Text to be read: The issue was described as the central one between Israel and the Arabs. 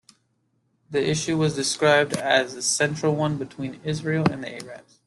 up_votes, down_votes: 2, 0